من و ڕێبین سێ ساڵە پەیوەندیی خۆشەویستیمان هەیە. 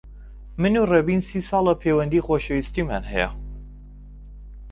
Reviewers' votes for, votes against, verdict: 0, 2, rejected